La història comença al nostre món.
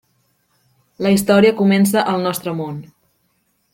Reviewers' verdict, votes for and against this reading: accepted, 3, 0